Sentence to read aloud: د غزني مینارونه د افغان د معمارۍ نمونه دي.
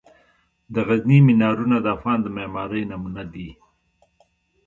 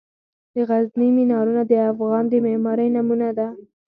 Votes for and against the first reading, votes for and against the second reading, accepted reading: 2, 1, 0, 4, first